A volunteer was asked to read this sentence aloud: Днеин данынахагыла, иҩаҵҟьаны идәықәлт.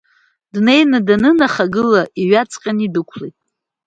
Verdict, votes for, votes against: accepted, 2, 0